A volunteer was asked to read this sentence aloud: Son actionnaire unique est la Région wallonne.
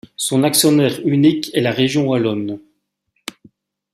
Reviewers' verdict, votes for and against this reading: accepted, 2, 0